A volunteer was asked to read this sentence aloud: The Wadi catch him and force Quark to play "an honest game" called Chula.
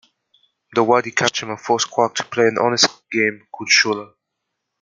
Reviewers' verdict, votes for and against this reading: rejected, 1, 2